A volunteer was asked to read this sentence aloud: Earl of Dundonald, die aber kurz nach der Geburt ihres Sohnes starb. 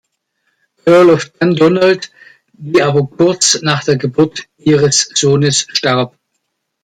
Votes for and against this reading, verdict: 1, 2, rejected